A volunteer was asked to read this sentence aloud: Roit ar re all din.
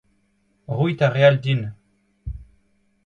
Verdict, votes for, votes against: accepted, 2, 0